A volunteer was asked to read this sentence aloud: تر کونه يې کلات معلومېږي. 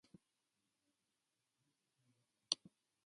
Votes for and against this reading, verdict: 0, 2, rejected